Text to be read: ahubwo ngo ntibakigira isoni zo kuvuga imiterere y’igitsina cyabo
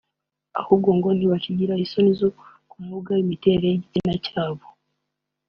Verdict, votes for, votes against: accepted, 2, 0